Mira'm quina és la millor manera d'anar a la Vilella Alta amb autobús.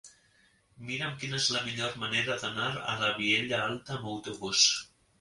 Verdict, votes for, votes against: rejected, 1, 2